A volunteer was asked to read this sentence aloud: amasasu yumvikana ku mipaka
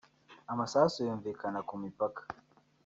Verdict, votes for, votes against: rejected, 1, 2